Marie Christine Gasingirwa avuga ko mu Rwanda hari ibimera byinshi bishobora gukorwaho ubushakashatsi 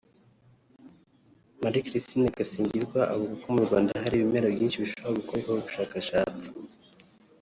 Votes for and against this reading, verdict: 0, 2, rejected